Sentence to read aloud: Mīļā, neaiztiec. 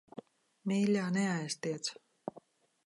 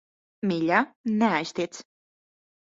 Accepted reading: first